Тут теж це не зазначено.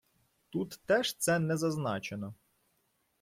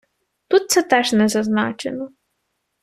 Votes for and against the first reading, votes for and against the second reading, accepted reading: 2, 0, 0, 2, first